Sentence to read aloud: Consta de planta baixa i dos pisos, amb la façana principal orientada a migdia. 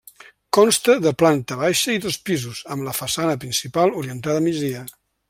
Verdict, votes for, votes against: rejected, 1, 2